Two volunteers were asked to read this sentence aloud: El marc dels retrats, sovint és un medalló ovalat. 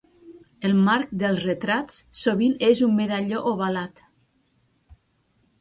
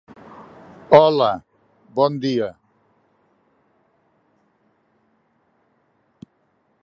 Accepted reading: first